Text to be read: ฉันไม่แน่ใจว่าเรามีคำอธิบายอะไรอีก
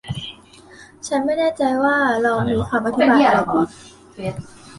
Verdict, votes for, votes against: rejected, 0, 2